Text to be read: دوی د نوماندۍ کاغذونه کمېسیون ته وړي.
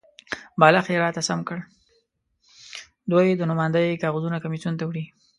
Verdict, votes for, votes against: rejected, 0, 2